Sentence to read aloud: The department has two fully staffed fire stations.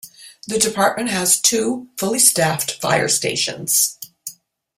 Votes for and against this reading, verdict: 2, 0, accepted